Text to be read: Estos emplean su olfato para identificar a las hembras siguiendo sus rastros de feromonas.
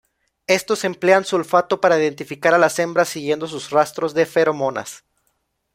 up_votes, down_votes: 2, 0